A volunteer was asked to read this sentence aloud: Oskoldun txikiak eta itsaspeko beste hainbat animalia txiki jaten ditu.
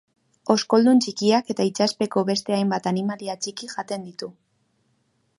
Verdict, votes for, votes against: accepted, 2, 0